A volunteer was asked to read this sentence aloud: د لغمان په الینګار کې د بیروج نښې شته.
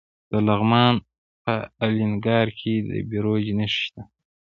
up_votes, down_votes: 1, 2